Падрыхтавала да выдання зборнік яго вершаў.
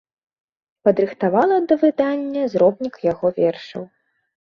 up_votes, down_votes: 0, 2